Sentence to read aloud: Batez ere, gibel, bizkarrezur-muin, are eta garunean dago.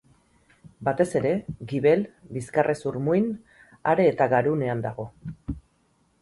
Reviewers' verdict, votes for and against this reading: accepted, 6, 0